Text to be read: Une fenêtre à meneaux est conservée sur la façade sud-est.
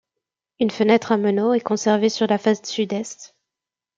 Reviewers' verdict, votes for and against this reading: rejected, 1, 2